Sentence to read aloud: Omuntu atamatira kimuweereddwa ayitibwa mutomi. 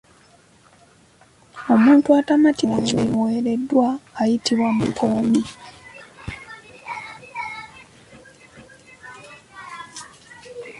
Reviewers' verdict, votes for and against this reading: rejected, 0, 2